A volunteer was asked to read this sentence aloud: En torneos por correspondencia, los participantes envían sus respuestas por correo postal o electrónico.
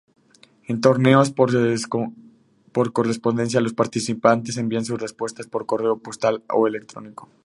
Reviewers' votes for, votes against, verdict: 0, 2, rejected